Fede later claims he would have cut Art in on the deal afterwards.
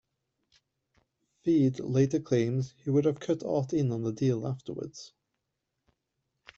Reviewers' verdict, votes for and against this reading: accepted, 2, 0